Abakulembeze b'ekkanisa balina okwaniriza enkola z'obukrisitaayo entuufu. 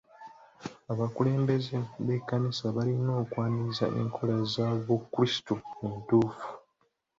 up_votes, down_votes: 2, 1